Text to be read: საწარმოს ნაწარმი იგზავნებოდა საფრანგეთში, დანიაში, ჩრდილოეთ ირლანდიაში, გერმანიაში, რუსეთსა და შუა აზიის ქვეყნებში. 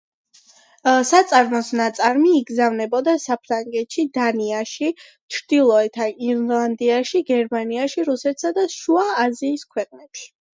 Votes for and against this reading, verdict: 2, 1, accepted